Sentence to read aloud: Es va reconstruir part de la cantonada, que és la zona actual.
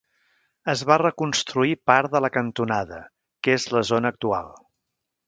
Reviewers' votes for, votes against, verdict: 3, 0, accepted